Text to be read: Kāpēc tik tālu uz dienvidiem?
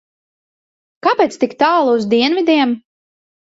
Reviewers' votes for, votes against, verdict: 2, 0, accepted